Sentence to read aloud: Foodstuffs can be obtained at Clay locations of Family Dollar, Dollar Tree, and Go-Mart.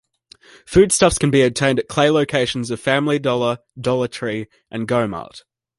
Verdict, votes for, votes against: accepted, 2, 0